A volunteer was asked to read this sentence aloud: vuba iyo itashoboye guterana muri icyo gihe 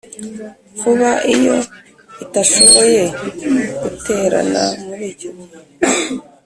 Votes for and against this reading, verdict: 2, 0, accepted